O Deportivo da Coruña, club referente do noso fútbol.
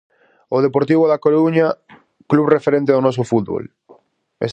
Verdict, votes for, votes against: rejected, 0, 4